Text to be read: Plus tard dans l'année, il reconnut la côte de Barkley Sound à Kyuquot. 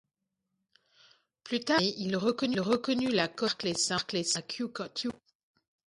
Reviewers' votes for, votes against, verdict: 0, 2, rejected